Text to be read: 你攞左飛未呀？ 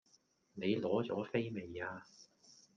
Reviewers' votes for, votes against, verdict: 1, 2, rejected